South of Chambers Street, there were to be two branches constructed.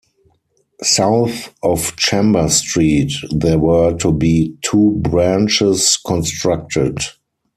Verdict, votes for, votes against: accepted, 4, 0